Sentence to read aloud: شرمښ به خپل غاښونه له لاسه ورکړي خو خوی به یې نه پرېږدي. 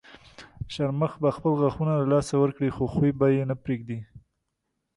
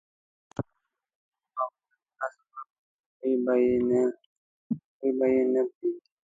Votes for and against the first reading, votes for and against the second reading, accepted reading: 3, 0, 0, 2, first